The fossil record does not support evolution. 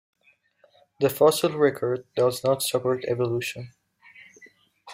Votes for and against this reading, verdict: 2, 0, accepted